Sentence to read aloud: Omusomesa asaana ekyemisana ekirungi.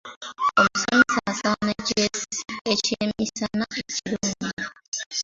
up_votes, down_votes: 0, 3